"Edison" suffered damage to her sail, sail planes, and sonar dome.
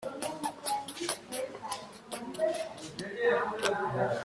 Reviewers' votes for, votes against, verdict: 0, 2, rejected